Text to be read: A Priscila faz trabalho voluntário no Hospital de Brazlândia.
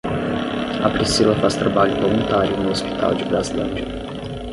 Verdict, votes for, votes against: rejected, 0, 10